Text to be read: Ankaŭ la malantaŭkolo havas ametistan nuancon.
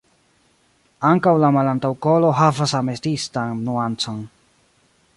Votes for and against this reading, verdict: 2, 0, accepted